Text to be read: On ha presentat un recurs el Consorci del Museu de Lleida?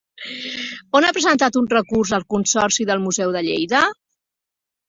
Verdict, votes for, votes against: rejected, 0, 2